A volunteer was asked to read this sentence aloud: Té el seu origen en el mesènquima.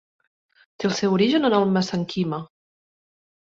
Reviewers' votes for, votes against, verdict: 0, 2, rejected